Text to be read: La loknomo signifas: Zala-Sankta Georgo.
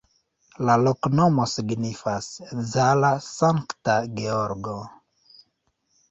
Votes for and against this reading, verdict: 2, 0, accepted